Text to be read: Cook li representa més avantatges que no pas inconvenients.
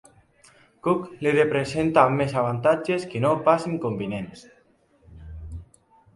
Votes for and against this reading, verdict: 2, 0, accepted